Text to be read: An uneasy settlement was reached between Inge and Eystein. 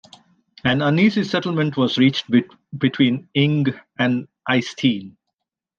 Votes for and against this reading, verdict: 0, 2, rejected